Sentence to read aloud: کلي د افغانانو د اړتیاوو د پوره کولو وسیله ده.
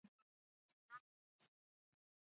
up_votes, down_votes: 1, 2